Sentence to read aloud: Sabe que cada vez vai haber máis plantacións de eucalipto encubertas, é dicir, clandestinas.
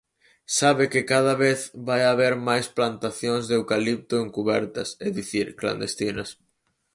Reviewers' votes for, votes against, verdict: 4, 0, accepted